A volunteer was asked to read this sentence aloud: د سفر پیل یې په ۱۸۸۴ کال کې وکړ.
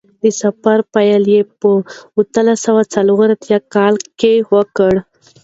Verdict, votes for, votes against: rejected, 0, 2